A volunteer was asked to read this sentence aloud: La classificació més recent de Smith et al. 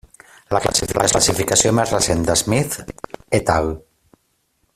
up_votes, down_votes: 0, 3